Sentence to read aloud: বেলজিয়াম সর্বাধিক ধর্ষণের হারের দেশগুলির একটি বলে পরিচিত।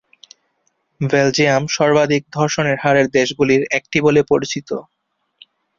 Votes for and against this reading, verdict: 2, 0, accepted